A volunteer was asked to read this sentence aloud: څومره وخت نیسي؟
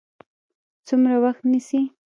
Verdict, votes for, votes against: accepted, 2, 0